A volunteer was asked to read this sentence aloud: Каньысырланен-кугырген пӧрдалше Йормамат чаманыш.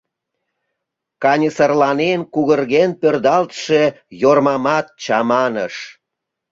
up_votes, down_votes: 1, 2